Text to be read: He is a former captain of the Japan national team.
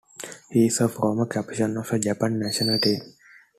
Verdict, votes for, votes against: rejected, 1, 2